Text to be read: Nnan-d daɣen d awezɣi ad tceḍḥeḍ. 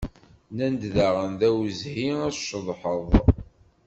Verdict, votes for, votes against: rejected, 1, 2